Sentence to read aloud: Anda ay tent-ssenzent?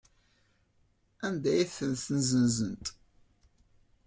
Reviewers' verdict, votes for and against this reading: rejected, 1, 2